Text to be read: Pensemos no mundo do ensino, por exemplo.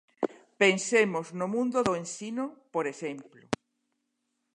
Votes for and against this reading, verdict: 2, 0, accepted